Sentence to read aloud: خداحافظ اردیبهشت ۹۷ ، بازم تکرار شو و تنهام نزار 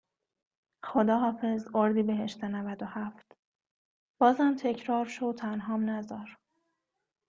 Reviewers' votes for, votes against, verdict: 0, 2, rejected